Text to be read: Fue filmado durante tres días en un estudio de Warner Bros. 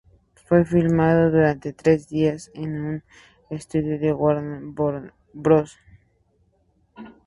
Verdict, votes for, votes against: rejected, 0, 2